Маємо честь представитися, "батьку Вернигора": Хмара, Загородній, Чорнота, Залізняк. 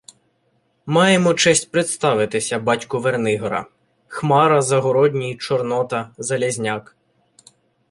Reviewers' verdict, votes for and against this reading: rejected, 1, 2